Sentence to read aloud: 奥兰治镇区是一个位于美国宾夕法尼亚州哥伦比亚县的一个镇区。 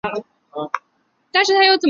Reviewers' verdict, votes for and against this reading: rejected, 1, 2